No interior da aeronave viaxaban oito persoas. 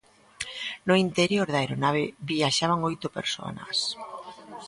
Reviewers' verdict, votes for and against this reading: rejected, 0, 2